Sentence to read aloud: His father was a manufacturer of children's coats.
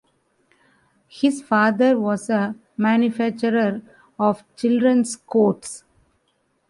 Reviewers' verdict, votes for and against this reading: accepted, 2, 0